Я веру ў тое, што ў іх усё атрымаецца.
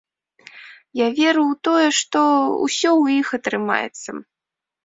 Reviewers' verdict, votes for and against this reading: rejected, 1, 2